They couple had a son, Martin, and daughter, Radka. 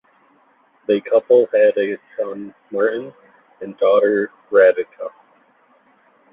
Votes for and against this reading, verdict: 2, 0, accepted